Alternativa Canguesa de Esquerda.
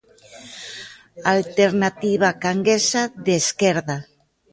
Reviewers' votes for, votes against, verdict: 2, 0, accepted